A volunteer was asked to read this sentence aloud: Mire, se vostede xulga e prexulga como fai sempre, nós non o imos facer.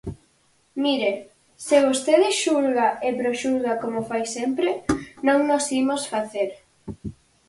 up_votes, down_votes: 0, 4